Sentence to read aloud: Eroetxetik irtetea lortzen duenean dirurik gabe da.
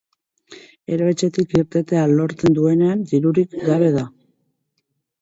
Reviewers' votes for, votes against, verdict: 2, 4, rejected